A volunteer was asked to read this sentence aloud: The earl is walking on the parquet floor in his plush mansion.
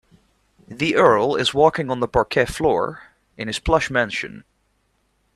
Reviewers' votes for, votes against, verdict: 2, 0, accepted